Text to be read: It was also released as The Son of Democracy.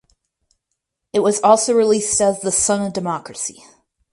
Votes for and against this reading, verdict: 4, 0, accepted